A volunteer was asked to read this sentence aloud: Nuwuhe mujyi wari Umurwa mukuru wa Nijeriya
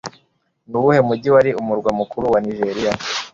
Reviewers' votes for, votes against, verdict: 3, 0, accepted